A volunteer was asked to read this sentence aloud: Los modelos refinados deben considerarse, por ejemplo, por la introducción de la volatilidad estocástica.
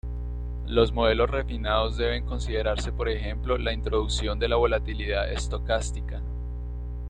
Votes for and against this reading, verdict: 1, 2, rejected